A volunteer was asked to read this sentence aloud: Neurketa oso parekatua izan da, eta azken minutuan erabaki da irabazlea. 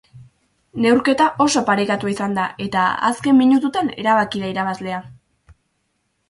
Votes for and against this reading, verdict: 2, 2, rejected